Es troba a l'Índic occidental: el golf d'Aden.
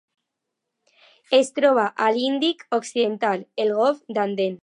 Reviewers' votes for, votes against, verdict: 0, 2, rejected